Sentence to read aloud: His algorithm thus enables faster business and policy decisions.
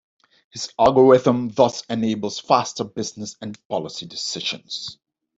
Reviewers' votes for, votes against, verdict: 2, 0, accepted